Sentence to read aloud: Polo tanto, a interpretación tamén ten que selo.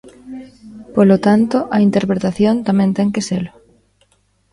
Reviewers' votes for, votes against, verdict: 2, 1, accepted